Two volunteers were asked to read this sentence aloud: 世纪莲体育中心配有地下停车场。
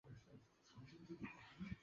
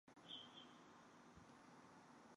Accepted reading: second